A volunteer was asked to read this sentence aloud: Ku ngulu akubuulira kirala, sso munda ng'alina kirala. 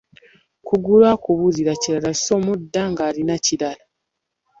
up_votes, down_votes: 1, 2